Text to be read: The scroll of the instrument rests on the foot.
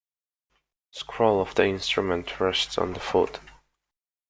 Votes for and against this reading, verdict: 2, 1, accepted